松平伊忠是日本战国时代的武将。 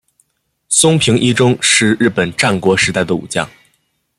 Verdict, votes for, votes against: accepted, 2, 0